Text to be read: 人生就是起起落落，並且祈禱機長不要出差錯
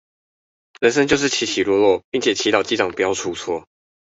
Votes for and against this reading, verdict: 0, 2, rejected